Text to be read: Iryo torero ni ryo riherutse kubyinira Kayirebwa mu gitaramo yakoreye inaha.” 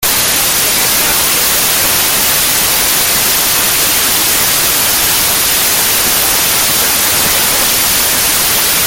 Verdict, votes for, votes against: rejected, 0, 2